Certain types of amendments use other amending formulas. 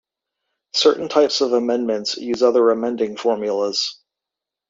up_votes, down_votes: 2, 0